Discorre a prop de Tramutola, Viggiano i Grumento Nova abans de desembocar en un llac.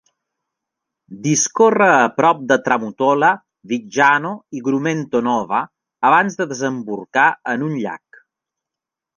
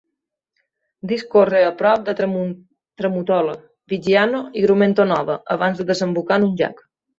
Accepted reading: first